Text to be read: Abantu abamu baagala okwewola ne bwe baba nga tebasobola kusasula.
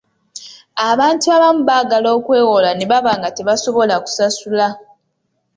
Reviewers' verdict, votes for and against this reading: rejected, 0, 2